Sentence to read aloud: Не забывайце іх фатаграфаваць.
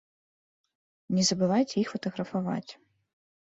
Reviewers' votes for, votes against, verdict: 2, 0, accepted